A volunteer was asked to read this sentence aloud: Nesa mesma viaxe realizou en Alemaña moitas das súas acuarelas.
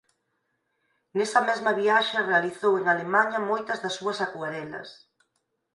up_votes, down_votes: 0, 4